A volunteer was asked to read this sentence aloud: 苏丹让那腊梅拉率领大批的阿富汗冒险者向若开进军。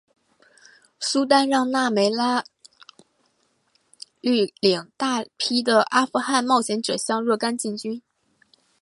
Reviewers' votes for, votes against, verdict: 7, 1, accepted